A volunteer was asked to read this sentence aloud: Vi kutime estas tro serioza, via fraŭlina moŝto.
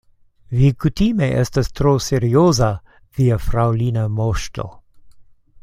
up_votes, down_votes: 2, 0